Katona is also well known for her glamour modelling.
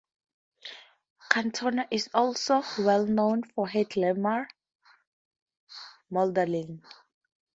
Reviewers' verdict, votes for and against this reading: accepted, 2, 0